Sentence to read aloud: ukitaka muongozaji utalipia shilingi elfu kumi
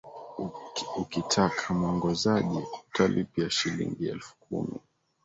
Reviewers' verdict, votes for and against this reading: accepted, 2, 0